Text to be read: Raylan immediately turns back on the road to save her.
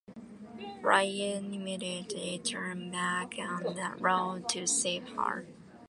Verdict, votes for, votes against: accepted, 2, 1